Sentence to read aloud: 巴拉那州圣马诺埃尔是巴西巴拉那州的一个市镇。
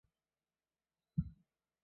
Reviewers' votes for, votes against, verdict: 0, 2, rejected